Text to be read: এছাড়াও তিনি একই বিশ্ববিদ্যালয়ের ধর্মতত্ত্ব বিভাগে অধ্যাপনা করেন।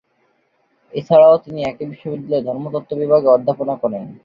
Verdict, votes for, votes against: accepted, 2, 0